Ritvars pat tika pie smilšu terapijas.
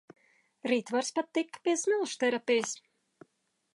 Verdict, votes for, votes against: accepted, 2, 0